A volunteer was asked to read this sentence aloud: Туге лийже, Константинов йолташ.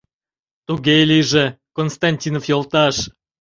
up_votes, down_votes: 2, 0